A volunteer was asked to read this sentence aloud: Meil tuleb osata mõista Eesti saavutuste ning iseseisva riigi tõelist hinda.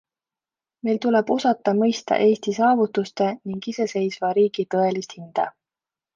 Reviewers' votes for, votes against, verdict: 2, 0, accepted